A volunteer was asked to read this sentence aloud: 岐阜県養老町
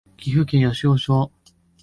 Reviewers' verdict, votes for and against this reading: rejected, 1, 2